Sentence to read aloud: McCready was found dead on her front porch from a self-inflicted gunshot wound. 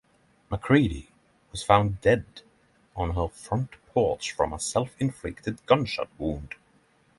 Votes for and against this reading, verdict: 6, 0, accepted